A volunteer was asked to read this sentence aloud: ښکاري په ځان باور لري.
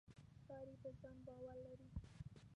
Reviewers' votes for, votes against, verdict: 0, 2, rejected